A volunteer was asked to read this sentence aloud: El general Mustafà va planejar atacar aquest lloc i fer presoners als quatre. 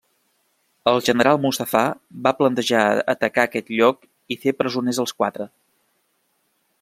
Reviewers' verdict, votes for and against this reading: rejected, 1, 2